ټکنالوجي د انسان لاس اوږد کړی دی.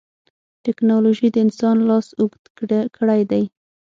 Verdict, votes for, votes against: rejected, 0, 6